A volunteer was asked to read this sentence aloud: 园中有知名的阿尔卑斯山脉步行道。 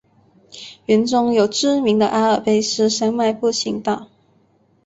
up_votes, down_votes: 2, 0